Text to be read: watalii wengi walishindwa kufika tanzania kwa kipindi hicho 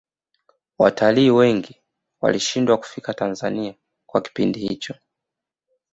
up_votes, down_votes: 2, 0